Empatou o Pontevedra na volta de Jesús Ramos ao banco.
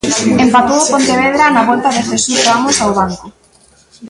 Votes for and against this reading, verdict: 2, 1, accepted